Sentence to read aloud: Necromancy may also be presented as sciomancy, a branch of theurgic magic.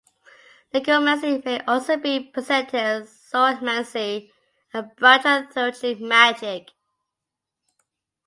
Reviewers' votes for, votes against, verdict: 0, 2, rejected